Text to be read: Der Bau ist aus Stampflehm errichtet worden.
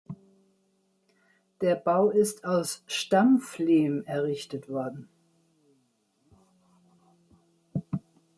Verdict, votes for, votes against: accepted, 2, 0